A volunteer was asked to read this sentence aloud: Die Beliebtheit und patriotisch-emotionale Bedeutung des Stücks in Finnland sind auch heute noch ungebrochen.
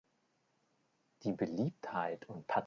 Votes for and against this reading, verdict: 0, 4, rejected